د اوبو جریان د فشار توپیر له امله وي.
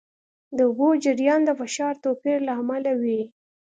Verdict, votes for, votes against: accepted, 2, 0